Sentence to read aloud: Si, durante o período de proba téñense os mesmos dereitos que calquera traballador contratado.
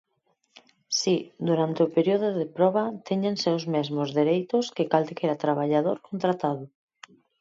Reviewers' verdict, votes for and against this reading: rejected, 2, 4